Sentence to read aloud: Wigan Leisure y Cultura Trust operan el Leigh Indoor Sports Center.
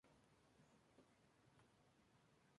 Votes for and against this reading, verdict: 0, 2, rejected